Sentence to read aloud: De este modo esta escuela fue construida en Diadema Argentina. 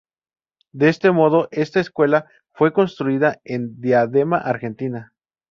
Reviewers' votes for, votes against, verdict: 4, 0, accepted